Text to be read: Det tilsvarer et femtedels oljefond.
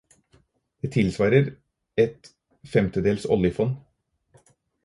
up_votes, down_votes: 4, 0